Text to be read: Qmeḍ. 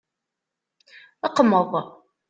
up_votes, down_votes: 2, 0